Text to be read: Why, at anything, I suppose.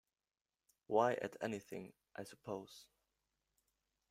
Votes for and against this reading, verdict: 1, 2, rejected